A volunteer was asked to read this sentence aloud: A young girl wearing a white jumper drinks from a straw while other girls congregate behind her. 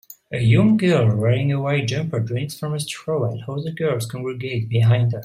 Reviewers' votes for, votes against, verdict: 2, 1, accepted